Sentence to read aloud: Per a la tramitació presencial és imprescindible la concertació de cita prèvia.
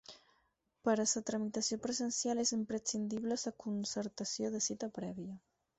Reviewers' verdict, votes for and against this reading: rejected, 2, 8